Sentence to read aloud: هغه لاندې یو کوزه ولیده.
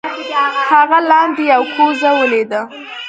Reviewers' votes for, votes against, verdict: 1, 2, rejected